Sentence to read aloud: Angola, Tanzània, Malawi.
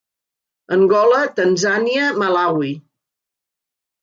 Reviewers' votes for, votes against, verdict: 4, 0, accepted